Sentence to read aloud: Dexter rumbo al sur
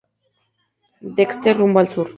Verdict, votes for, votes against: accepted, 2, 0